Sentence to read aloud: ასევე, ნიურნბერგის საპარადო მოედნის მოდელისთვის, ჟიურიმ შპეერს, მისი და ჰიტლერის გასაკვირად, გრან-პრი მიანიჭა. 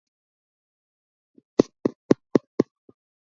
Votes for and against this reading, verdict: 0, 2, rejected